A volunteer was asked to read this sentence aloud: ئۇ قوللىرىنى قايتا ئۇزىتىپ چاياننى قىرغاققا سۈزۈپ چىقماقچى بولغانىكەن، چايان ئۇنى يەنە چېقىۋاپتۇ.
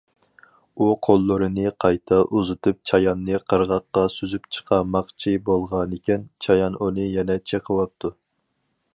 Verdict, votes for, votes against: rejected, 0, 4